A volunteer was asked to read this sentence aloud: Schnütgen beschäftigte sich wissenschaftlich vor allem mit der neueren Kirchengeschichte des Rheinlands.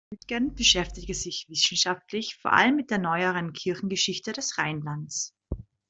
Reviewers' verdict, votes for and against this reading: rejected, 1, 2